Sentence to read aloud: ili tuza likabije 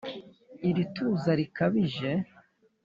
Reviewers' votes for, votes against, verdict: 3, 0, accepted